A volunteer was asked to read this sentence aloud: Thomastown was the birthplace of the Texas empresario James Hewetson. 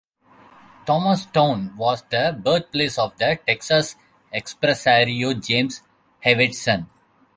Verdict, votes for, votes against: rejected, 1, 2